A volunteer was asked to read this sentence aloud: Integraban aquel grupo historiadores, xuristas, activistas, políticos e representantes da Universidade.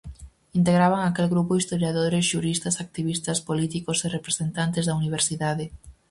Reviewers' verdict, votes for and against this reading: accepted, 4, 0